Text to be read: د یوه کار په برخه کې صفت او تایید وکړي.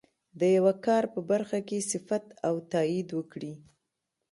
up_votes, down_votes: 2, 0